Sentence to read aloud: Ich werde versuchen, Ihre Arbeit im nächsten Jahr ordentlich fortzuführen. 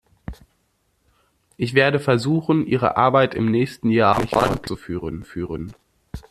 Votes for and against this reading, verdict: 0, 2, rejected